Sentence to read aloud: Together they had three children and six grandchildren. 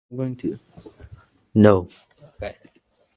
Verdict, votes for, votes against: rejected, 0, 2